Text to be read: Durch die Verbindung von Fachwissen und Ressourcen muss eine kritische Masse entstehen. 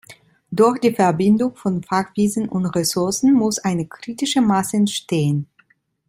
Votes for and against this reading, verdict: 2, 0, accepted